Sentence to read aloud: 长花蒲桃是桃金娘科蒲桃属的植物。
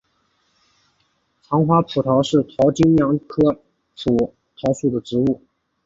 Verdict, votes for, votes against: rejected, 0, 2